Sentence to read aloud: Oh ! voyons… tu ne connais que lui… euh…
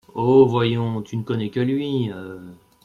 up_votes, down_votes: 1, 2